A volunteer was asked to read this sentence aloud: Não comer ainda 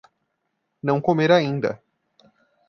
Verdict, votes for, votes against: accepted, 2, 0